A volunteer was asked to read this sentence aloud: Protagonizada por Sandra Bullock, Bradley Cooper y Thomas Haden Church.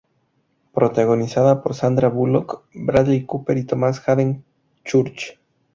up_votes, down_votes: 2, 0